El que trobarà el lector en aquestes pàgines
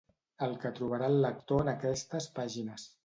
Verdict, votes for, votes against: accepted, 2, 0